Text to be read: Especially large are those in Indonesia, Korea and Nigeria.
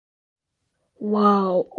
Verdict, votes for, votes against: rejected, 0, 2